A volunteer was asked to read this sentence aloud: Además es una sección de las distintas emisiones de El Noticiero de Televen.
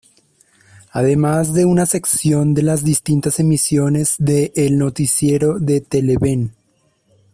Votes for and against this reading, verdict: 0, 2, rejected